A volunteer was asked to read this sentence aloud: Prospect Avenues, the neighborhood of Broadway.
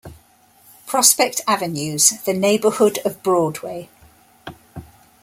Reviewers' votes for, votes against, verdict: 2, 0, accepted